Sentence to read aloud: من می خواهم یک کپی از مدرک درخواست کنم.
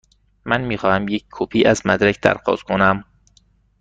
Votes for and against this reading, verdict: 2, 0, accepted